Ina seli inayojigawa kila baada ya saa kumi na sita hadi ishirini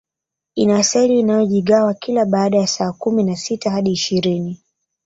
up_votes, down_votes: 4, 0